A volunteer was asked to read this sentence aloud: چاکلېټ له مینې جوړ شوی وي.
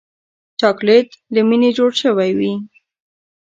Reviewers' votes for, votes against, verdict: 2, 0, accepted